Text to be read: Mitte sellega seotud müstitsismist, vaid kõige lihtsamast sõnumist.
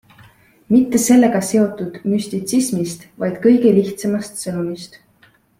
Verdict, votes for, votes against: accepted, 2, 0